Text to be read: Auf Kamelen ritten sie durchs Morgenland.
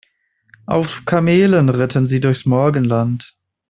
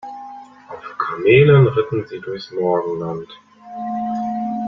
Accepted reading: first